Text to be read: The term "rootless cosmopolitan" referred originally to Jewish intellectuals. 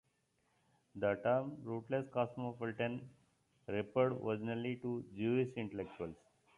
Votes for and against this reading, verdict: 2, 0, accepted